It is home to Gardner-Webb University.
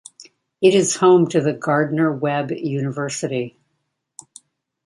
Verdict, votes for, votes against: rejected, 0, 2